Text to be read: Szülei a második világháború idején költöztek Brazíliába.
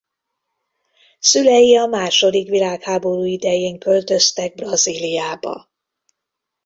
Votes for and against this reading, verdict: 2, 0, accepted